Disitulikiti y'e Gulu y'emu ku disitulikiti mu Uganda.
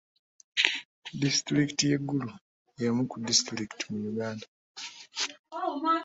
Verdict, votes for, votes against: accepted, 2, 0